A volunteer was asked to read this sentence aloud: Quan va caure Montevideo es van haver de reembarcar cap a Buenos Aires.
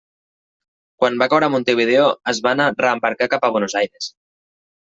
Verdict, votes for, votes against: rejected, 0, 2